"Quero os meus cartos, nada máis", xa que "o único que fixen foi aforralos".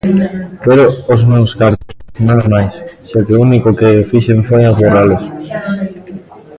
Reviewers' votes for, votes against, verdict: 1, 2, rejected